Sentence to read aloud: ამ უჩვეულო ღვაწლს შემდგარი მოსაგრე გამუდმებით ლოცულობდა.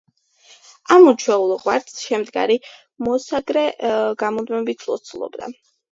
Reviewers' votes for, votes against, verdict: 2, 0, accepted